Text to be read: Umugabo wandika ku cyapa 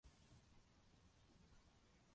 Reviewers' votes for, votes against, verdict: 0, 2, rejected